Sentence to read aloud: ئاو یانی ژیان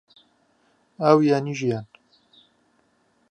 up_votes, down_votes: 2, 0